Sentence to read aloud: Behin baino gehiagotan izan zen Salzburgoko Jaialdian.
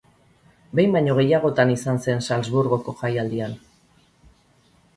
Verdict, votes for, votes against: accepted, 4, 0